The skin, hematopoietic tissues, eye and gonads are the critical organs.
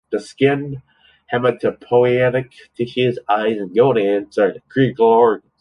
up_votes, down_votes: 1, 2